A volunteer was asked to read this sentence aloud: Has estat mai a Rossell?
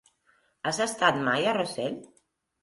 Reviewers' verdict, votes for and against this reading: rejected, 0, 2